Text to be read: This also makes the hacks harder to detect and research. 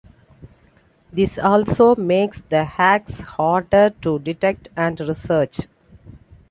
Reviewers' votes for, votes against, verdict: 2, 1, accepted